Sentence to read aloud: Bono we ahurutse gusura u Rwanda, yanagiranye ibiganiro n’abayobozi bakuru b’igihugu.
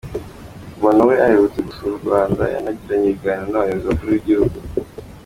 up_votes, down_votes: 2, 0